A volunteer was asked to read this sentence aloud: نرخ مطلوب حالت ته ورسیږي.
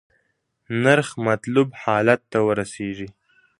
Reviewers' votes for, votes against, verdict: 2, 1, accepted